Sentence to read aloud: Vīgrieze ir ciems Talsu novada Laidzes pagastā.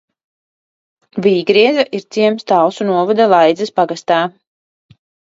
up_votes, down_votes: 2, 0